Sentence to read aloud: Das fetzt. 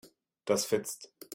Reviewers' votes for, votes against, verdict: 2, 0, accepted